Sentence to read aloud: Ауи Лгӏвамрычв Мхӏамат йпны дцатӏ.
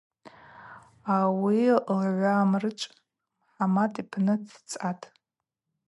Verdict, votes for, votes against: accepted, 2, 0